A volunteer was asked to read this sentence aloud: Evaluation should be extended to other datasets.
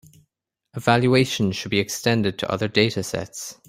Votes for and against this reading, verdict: 2, 0, accepted